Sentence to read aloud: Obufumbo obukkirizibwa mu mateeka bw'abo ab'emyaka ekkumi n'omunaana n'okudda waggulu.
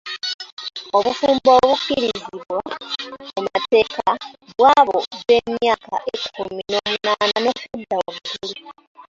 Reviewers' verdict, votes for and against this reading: rejected, 0, 2